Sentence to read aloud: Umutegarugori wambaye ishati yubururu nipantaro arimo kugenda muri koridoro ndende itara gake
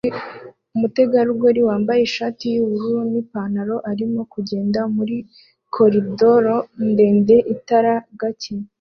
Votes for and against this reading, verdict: 2, 0, accepted